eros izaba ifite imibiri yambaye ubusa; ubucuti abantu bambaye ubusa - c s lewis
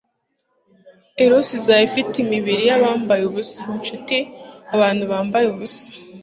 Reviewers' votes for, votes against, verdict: 1, 2, rejected